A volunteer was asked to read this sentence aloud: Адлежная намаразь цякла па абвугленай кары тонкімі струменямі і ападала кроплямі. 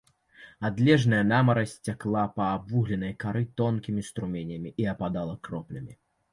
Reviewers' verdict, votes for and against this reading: accepted, 2, 0